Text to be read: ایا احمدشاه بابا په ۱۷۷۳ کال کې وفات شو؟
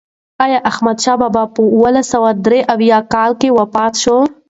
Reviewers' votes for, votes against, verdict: 0, 2, rejected